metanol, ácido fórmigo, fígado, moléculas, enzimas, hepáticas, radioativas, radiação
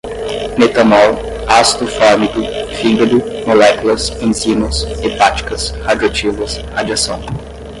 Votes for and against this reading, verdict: 10, 0, accepted